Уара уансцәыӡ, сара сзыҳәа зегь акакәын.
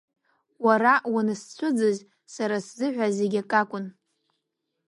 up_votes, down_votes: 0, 2